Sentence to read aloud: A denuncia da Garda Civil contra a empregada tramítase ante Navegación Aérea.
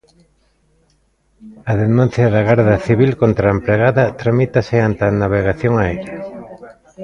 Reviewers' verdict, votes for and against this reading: accepted, 2, 1